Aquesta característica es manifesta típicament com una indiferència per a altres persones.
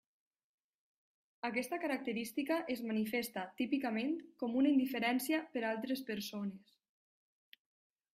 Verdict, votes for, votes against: rejected, 1, 2